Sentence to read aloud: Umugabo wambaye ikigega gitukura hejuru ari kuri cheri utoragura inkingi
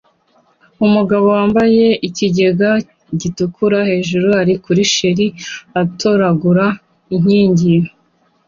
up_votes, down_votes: 2, 0